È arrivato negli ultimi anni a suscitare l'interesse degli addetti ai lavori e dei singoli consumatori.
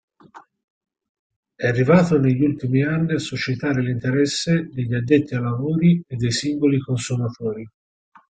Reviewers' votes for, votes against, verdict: 4, 0, accepted